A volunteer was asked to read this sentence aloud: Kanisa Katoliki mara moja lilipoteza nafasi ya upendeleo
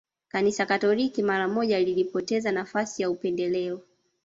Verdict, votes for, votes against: rejected, 1, 2